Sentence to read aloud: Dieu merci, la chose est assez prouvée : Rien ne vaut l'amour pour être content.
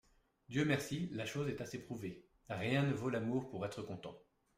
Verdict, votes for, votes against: accepted, 2, 0